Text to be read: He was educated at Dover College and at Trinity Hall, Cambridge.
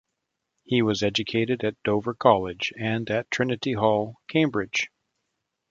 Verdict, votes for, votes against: accepted, 2, 0